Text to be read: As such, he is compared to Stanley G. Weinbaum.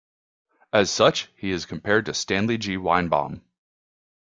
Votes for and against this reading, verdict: 2, 0, accepted